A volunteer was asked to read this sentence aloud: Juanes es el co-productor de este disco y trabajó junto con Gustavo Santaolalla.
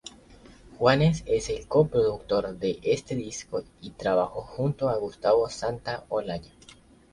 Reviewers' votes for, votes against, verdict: 0, 2, rejected